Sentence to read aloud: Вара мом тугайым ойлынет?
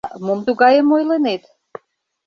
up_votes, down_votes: 1, 2